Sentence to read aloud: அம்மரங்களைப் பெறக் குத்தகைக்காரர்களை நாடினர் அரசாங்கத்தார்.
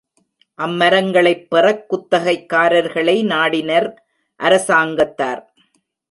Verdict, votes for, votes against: rejected, 0, 2